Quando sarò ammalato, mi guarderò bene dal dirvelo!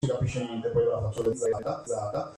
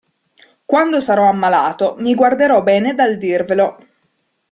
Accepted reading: second